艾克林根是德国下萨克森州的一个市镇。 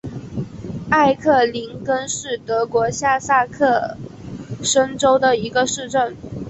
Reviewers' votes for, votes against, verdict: 3, 2, accepted